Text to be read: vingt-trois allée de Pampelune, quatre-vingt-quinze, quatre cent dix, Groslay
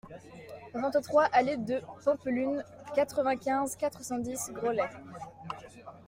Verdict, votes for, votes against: accepted, 2, 0